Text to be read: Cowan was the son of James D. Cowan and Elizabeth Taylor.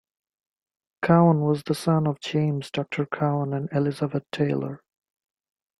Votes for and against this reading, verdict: 0, 2, rejected